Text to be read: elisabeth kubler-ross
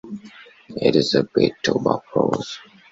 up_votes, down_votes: 1, 2